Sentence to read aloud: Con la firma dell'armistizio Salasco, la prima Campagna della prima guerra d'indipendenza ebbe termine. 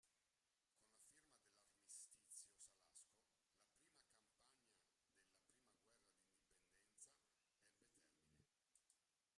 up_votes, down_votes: 0, 2